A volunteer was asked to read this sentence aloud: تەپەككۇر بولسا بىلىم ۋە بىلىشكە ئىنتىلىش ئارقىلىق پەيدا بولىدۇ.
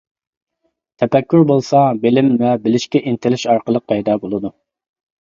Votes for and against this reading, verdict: 2, 0, accepted